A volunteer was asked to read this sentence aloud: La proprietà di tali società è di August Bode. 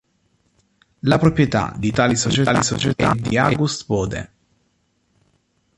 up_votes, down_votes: 0, 2